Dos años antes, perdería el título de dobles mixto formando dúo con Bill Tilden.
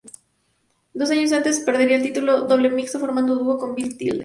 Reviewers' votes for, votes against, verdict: 0, 2, rejected